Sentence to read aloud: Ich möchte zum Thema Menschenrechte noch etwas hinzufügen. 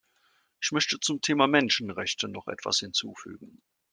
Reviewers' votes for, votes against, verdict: 2, 0, accepted